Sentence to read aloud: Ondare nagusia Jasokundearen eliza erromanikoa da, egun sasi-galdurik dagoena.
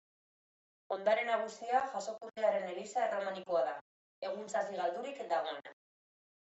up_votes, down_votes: 2, 0